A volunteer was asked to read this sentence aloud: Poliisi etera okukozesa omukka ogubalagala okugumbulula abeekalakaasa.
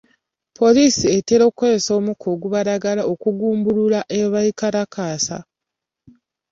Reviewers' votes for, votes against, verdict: 2, 1, accepted